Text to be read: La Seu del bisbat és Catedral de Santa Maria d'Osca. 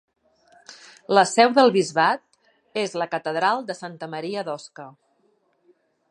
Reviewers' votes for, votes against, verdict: 0, 2, rejected